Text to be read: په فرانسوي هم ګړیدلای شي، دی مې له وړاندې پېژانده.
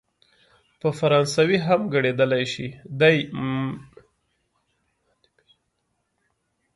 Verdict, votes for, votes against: rejected, 0, 2